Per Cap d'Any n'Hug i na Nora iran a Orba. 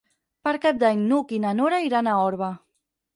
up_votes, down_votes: 6, 0